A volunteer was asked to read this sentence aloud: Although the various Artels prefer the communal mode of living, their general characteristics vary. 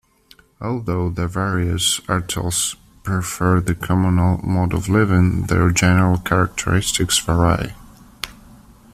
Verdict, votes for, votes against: accepted, 2, 0